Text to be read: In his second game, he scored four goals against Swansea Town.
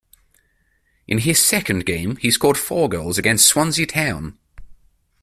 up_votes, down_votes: 3, 0